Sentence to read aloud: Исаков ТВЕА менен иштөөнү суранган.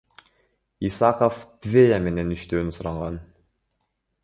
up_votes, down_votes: 2, 0